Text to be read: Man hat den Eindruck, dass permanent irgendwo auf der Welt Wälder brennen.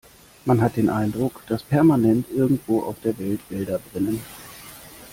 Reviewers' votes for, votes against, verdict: 2, 0, accepted